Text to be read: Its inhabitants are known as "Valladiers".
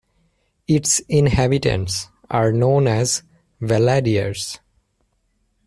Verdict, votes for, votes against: accepted, 2, 0